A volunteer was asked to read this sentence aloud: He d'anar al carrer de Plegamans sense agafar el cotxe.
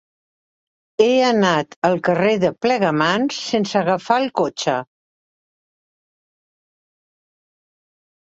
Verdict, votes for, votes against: rejected, 0, 2